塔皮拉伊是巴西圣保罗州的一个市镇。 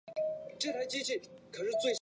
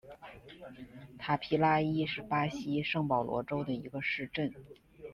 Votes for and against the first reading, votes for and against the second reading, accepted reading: 0, 2, 2, 0, second